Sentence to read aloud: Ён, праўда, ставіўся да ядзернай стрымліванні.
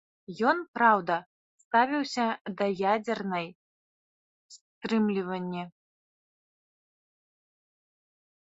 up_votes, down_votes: 0, 4